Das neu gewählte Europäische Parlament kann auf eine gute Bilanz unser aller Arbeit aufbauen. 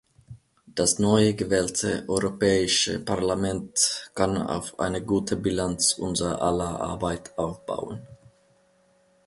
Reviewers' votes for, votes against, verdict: 2, 0, accepted